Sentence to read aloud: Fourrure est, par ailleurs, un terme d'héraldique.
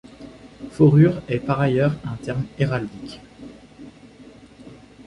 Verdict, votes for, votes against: rejected, 0, 2